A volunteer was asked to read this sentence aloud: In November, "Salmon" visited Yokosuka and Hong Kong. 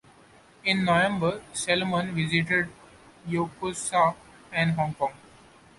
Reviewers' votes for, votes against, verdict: 0, 2, rejected